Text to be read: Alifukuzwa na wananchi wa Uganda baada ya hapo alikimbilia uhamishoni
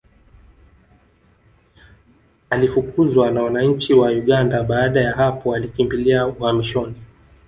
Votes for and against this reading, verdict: 0, 2, rejected